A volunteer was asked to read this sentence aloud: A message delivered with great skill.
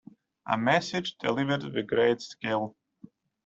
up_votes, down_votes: 2, 0